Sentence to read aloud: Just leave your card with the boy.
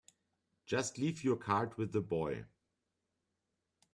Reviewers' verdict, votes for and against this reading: accepted, 2, 0